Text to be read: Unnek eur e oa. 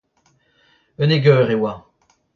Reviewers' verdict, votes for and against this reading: rejected, 0, 2